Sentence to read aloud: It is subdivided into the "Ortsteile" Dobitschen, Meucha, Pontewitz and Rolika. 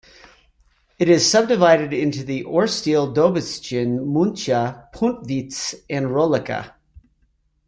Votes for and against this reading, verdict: 0, 2, rejected